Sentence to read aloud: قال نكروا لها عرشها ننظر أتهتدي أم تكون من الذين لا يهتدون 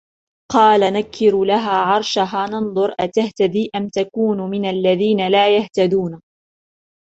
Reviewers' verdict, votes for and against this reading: rejected, 0, 2